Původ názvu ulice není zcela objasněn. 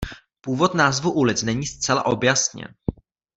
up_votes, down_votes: 1, 2